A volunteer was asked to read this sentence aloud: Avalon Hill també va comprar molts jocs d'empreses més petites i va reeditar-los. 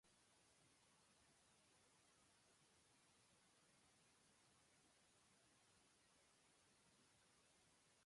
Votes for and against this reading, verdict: 0, 2, rejected